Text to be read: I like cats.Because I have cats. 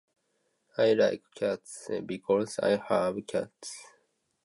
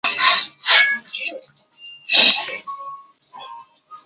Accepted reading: first